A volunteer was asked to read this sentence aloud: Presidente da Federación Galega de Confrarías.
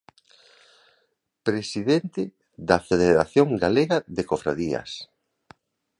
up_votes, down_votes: 1, 2